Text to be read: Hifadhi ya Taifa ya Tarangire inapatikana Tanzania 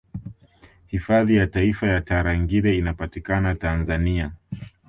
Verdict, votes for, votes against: accepted, 2, 0